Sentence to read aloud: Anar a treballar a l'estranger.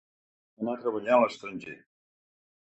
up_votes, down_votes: 2, 4